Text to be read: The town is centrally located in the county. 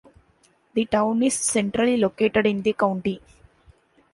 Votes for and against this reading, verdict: 2, 0, accepted